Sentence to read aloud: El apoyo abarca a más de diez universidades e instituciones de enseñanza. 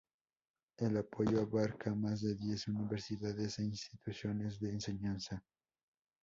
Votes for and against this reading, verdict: 2, 0, accepted